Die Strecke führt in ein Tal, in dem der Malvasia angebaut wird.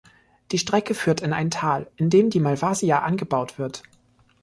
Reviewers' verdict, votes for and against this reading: accepted, 2, 0